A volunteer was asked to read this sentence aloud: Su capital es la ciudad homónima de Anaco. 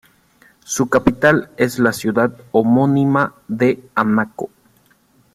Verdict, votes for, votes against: accepted, 2, 0